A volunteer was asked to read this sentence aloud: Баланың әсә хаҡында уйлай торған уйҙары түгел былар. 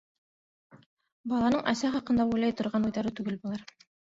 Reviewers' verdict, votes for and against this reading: rejected, 1, 2